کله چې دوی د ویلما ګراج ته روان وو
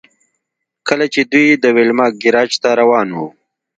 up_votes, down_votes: 2, 0